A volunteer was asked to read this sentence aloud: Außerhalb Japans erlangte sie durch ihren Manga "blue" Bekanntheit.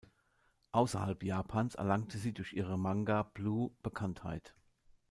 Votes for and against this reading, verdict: 2, 0, accepted